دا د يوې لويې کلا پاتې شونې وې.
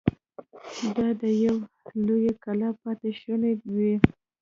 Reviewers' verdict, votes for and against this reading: rejected, 2, 3